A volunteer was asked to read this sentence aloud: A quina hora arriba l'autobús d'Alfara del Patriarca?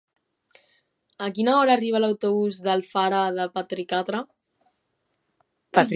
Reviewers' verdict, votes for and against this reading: rejected, 0, 2